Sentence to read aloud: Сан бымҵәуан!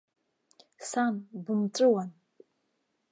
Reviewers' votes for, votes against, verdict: 2, 0, accepted